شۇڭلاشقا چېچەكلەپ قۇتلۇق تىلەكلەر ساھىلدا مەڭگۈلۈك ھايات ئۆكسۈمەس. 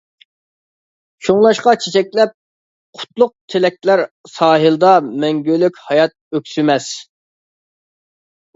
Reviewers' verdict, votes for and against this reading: accepted, 2, 0